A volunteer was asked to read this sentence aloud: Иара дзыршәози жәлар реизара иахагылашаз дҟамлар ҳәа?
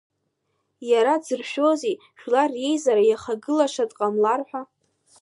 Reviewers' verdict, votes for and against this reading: accepted, 2, 0